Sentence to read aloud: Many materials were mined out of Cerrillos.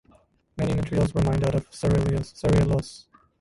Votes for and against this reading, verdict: 0, 2, rejected